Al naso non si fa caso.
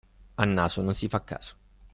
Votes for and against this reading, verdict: 2, 0, accepted